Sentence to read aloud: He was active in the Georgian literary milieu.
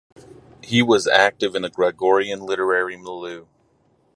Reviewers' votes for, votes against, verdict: 2, 4, rejected